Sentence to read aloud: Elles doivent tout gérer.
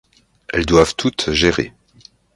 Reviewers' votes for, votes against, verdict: 0, 2, rejected